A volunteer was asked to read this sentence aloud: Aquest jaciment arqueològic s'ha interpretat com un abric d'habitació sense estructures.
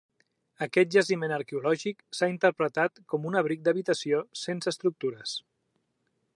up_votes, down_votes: 2, 0